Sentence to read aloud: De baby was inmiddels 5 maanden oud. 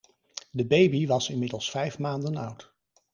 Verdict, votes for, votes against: rejected, 0, 2